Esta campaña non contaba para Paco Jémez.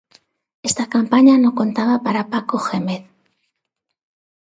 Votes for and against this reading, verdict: 0, 2, rejected